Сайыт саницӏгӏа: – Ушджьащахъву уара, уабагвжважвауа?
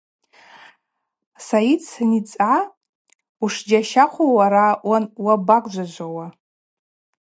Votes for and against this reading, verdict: 2, 0, accepted